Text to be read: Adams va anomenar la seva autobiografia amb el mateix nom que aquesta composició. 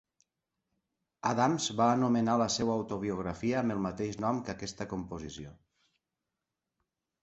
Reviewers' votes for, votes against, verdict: 3, 0, accepted